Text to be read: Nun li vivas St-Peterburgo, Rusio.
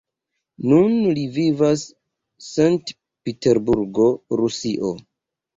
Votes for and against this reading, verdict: 0, 2, rejected